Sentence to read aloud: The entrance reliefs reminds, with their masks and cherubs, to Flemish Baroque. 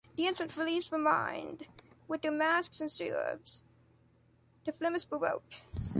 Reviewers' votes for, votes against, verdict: 1, 2, rejected